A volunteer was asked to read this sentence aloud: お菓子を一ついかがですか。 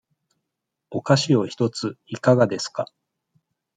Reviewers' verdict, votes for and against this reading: accepted, 2, 1